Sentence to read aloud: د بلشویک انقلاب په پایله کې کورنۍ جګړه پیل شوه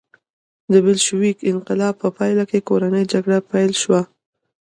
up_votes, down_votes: 2, 1